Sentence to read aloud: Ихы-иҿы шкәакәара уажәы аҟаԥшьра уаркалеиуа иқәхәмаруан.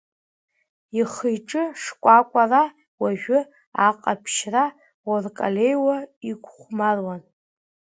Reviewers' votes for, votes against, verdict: 2, 0, accepted